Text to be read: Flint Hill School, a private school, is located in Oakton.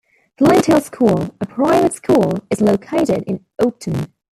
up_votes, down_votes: 0, 2